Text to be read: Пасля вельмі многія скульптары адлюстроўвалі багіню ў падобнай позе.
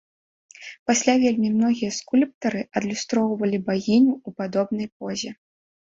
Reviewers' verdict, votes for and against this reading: accepted, 2, 0